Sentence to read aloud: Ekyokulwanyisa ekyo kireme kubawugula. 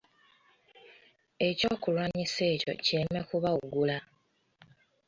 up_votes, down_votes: 1, 2